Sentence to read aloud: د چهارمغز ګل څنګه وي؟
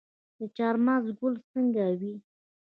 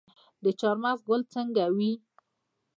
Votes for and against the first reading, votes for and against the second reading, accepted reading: 2, 0, 1, 2, first